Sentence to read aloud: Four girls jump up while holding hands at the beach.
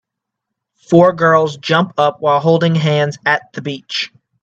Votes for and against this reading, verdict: 2, 1, accepted